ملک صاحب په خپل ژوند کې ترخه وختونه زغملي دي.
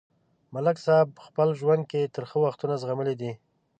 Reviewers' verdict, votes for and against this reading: accepted, 2, 0